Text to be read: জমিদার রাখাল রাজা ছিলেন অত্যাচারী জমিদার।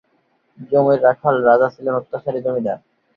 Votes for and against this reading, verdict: 5, 6, rejected